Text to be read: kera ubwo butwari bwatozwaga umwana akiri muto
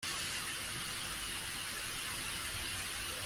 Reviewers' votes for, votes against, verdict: 0, 2, rejected